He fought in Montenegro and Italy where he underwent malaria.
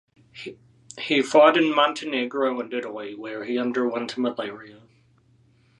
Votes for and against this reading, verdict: 2, 0, accepted